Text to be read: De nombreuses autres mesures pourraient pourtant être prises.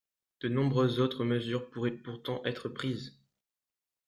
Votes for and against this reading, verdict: 2, 0, accepted